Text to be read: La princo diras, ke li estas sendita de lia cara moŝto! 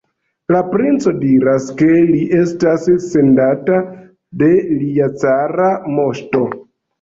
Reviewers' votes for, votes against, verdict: 1, 2, rejected